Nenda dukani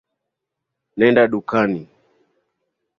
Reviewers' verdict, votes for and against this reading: accepted, 2, 0